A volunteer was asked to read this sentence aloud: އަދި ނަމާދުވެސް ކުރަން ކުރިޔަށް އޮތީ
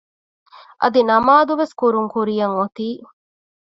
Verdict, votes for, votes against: accepted, 2, 0